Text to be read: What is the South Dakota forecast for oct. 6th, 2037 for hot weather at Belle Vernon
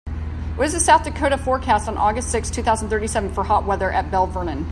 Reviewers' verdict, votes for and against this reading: rejected, 0, 2